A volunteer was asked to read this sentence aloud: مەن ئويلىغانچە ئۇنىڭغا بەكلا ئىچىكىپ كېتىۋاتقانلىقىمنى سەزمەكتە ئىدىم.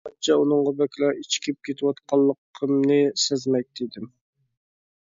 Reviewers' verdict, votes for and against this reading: rejected, 0, 2